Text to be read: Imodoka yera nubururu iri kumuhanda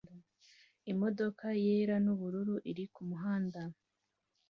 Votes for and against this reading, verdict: 2, 0, accepted